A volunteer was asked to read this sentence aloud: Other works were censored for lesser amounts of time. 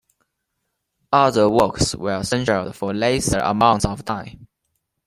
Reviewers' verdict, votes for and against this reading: rejected, 0, 2